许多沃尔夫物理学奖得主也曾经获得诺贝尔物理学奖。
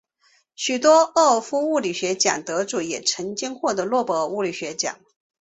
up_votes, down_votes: 2, 1